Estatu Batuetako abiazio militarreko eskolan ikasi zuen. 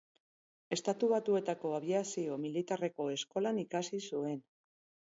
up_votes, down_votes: 4, 0